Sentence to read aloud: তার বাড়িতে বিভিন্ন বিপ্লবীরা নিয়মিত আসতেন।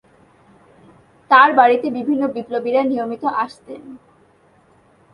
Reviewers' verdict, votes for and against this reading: accepted, 2, 0